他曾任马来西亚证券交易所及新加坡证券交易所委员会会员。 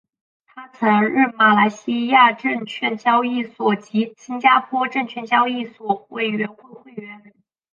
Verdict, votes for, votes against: accepted, 4, 0